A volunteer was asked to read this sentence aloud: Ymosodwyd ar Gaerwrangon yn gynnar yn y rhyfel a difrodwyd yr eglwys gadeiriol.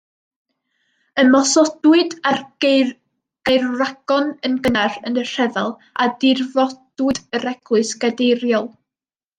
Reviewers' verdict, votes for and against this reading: rejected, 0, 2